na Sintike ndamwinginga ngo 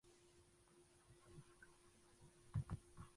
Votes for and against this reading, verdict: 0, 2, rejected